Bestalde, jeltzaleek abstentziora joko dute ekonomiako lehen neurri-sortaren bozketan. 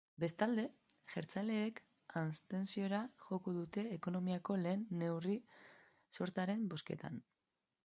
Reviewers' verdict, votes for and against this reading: accepted, 2, 0